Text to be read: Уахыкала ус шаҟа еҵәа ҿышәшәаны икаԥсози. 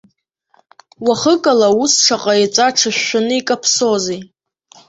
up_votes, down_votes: 1, 2